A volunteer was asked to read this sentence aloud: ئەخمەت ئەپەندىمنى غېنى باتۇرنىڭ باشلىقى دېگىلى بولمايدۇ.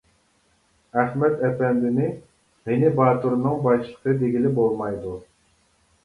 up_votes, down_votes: 0, 2